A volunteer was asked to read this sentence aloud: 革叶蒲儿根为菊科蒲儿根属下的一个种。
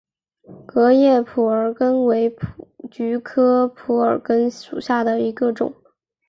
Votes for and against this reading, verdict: 3, 0, accepted